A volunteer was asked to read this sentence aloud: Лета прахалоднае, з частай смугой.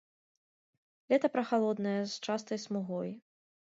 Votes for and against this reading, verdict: 2, 0, accepted